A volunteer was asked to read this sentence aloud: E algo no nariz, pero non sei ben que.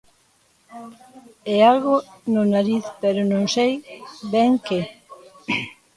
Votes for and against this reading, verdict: 1, 2, rejected